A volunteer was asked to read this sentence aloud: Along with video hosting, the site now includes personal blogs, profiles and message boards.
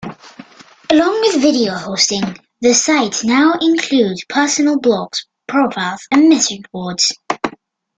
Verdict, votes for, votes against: accepted, 2, 0